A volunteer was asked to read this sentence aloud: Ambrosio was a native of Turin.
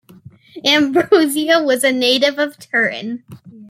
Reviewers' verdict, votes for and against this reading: rejected, 0, 2